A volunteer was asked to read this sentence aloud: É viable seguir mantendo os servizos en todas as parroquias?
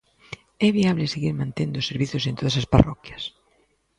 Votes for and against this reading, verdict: 2, 0, accepted